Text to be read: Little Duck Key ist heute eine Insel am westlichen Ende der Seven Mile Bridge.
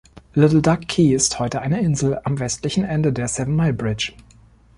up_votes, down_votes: 2, 0